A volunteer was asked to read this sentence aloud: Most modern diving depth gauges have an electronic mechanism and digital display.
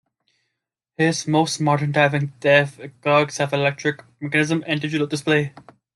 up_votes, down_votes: 0, 2